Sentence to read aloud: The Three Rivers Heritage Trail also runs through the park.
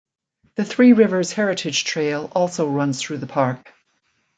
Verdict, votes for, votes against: accepted, 2, 0